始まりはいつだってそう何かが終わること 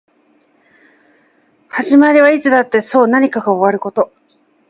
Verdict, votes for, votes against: accepted, 3, 0